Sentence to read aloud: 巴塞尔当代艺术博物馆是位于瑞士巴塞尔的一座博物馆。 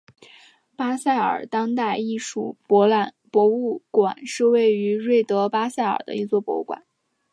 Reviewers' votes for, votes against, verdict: 2, 0, accepted